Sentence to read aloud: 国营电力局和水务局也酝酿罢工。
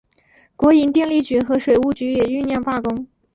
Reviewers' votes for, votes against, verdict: 2, 0, accepted